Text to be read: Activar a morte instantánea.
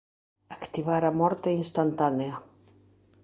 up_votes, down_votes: 1, 2